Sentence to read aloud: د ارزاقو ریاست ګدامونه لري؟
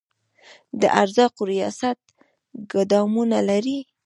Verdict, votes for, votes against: rejected, 1, 3